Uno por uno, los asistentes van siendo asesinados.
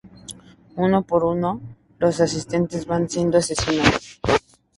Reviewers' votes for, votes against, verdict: 2, 0, accepted